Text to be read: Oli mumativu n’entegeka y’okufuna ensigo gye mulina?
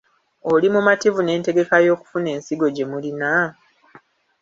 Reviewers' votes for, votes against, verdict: 1, 2, rejected